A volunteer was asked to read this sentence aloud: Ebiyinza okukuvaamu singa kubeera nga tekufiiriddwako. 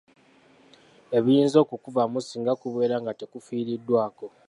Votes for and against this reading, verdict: 2, 0, accepted